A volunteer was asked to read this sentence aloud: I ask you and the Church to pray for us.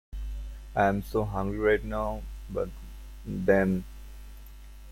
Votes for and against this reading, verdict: 0, 2, rejected